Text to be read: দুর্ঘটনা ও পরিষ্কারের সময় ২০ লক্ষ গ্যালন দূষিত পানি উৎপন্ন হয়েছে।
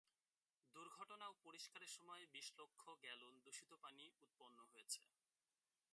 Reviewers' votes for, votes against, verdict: 0, 2, rejected